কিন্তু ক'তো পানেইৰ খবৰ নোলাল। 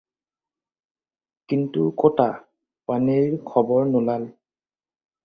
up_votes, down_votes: 2, 4